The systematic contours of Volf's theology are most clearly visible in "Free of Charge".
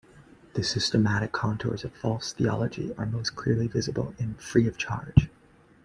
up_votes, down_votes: 1, 2